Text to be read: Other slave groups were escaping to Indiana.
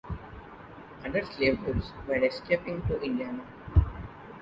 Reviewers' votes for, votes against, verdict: 0, 2, rejected